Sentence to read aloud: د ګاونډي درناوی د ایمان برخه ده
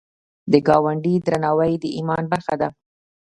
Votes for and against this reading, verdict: 2, 1, accepted